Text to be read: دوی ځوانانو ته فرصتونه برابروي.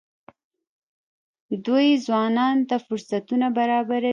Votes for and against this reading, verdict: 1, 2, rejected